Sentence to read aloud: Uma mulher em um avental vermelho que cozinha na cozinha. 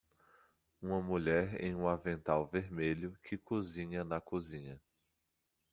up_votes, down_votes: 2, 0